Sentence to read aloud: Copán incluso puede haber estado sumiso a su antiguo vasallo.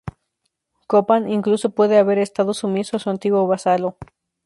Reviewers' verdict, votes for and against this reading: accepted, 2, 0